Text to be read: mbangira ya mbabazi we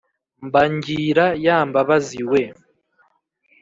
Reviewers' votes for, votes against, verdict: 2, 0, accepted